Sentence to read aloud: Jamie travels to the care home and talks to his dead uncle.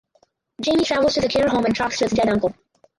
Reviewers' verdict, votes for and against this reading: rejected, 2, 4